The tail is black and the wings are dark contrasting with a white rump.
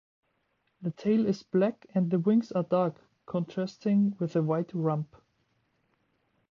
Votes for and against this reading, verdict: 2, 0, accepted